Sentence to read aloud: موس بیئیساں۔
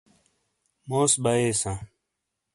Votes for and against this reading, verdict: 2, 0, accepted